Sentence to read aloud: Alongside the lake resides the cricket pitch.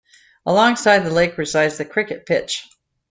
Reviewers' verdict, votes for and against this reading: accepted, 2, 0